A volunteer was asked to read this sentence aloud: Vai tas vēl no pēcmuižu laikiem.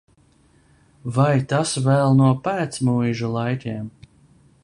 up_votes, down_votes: 2, 0